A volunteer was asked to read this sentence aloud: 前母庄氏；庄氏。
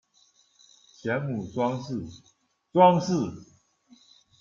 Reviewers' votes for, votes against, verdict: 2, 1, accepted